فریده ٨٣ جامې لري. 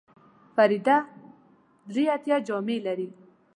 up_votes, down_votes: 0, 2